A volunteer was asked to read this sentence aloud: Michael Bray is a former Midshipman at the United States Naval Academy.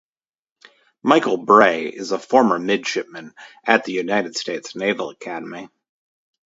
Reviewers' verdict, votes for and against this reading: accepted, 2, 0